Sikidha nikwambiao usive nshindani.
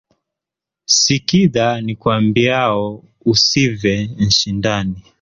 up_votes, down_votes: 0, 2